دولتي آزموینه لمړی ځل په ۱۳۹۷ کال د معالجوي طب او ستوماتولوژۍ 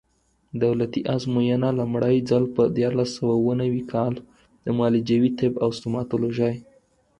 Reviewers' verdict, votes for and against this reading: rejected, 0, 2